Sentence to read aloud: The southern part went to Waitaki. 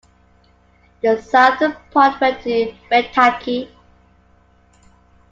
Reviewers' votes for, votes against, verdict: 2, 1, accepted